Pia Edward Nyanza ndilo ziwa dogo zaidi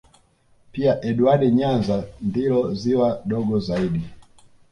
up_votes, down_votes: 2, 0